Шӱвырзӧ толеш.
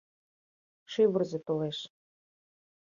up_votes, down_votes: 2, 0